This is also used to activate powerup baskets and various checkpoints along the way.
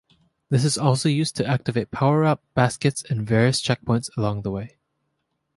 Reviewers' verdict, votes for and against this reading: accepted, 4, 0